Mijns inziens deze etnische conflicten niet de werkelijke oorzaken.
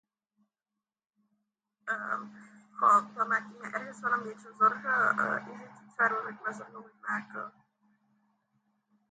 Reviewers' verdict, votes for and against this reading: rejected, 0, 2